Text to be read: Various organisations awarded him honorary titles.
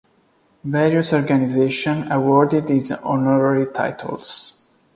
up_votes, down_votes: 0, 2